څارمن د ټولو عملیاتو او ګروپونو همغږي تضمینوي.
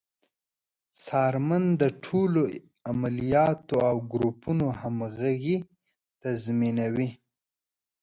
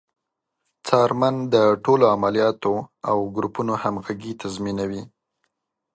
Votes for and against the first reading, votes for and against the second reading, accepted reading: 0, 2, 2, 0, second